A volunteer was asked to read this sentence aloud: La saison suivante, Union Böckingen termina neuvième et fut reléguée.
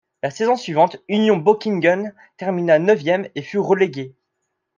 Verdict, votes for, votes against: accepted, 2, 0